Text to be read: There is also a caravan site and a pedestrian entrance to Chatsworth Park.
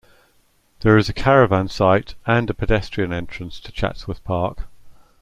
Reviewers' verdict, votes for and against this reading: rejected, 0, 2